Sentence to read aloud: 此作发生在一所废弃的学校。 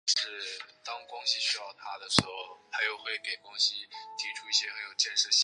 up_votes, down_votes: 0, 2